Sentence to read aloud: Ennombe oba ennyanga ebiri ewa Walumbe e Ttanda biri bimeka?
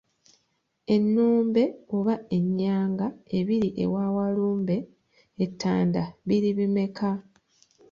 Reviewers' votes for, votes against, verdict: 0, 2, rejected